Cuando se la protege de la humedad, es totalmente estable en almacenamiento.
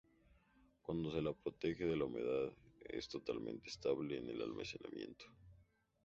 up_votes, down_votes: 0, 2